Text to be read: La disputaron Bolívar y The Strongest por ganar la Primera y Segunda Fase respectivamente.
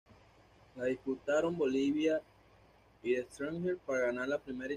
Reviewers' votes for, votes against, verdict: 1, 2, rejected